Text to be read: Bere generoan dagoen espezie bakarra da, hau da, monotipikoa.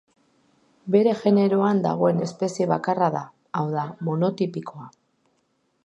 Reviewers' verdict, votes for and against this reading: accepted, 2, 0